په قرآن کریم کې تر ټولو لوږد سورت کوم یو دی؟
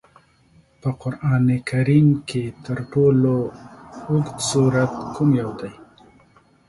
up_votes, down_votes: 1, 2